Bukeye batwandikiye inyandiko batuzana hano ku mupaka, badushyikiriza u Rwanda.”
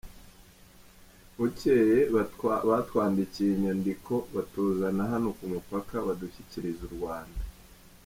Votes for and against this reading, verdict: 1, 2, rejected